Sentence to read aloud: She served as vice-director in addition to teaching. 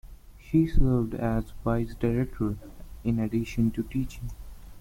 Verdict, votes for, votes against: rejected, 1, 2